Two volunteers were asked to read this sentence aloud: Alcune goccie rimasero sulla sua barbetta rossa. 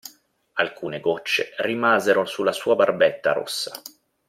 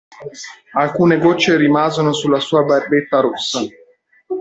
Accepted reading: first